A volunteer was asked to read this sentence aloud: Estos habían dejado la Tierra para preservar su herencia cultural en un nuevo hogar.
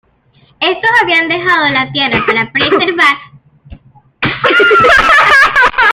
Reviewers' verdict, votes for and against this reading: rejected, 0, 2